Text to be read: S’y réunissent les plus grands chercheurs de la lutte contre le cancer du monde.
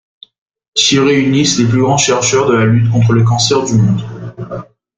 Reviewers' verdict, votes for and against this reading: rejected, 1, 2